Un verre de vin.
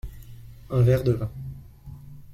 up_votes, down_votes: 2, 0